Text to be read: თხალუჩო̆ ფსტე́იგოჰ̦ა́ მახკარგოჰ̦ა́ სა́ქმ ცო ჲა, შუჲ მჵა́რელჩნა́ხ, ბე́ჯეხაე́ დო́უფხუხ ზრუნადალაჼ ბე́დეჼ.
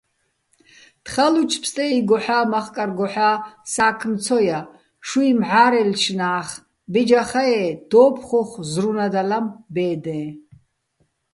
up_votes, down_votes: 1, 2